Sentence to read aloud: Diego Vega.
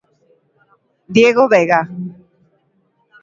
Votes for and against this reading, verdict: 2, 0, accepted